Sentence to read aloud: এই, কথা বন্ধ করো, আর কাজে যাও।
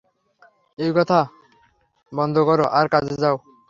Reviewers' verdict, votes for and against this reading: rejected, 0, 3